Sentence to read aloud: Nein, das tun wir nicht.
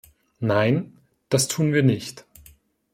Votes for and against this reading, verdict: 2, 0, accepted